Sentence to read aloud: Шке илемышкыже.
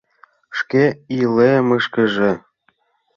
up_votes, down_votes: 1, 2